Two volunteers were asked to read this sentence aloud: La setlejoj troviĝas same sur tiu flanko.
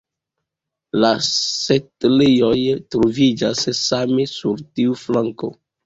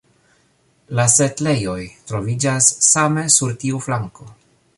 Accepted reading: first